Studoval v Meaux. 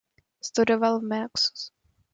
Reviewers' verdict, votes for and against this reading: rejected, 1, 2